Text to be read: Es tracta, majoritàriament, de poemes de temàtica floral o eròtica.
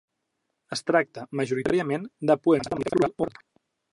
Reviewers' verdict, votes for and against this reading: rejected, 0, 2